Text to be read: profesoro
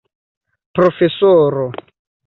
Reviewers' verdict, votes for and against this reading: accepted, 2, 0